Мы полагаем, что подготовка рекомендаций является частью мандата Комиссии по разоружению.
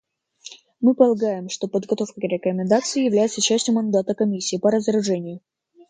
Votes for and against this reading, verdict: 2, 0, accepted